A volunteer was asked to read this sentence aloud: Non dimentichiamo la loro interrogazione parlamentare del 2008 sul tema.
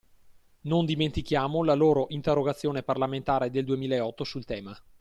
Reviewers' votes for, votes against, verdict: 0, 2, rejected